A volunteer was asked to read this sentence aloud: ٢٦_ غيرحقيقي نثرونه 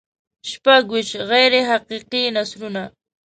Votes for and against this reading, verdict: 0, 2, rejected